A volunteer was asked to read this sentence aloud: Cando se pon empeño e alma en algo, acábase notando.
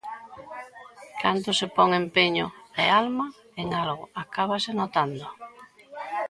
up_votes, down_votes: 2, 0